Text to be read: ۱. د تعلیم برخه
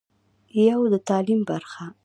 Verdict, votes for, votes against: rejected, 0, 2